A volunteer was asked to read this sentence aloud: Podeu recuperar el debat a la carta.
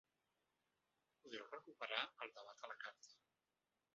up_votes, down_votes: 1, 2